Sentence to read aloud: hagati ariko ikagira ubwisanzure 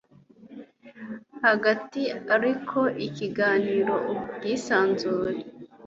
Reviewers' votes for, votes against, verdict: 3, 0, accepted